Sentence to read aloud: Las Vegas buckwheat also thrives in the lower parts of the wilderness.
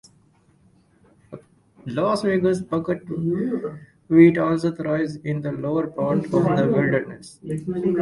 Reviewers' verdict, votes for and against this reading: accepted, 4, 2